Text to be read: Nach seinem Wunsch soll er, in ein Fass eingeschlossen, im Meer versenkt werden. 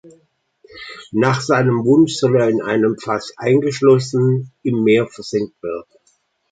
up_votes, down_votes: 2, 1